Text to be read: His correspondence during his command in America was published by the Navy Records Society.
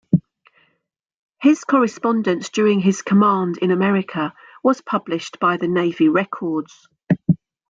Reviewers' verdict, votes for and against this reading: rejected, 0, 2